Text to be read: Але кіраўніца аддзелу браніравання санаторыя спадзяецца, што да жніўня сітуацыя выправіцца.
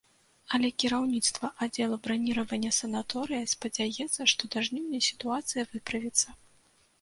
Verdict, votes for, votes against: rejected, 1, 2